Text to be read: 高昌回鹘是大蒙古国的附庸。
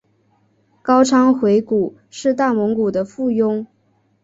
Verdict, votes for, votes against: accepted, 4, 3